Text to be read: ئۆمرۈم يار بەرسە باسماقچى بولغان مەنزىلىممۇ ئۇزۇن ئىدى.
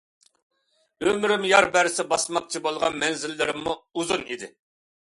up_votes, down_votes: 2, 1